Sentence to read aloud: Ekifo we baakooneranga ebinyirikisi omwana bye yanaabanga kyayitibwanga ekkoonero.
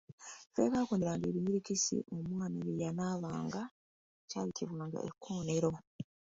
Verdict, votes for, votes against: accepted, 2, 0